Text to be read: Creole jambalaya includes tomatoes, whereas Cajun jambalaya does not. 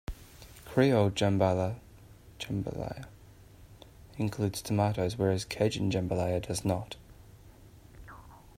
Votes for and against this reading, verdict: 0, 2, rejected